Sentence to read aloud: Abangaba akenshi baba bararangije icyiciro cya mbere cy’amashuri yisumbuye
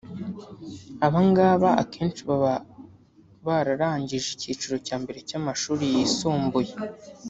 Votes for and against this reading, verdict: 1, 2, rejected